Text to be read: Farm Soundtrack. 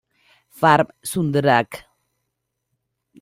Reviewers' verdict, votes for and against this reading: rejected, 0, 2